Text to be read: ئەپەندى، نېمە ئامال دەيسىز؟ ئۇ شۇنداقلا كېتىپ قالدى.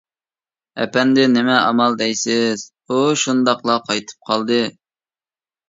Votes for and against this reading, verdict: 0, 2, rejected